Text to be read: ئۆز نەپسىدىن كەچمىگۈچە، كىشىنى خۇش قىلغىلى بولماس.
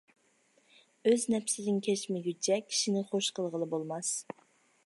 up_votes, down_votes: 3, 0